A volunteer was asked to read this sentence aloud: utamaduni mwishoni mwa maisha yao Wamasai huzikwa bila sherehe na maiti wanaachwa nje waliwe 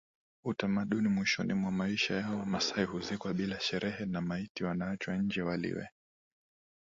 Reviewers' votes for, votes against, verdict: 2, 4, rejected